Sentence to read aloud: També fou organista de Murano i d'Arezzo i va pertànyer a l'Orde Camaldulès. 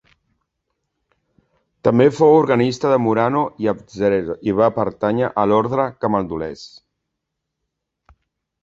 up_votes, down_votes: 1, 2